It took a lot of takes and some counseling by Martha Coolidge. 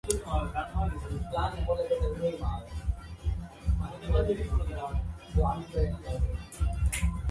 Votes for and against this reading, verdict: 0, 2, rejected